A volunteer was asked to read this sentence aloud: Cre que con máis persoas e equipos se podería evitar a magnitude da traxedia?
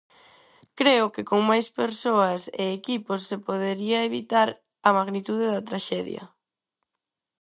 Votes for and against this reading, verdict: 2, 2, rejected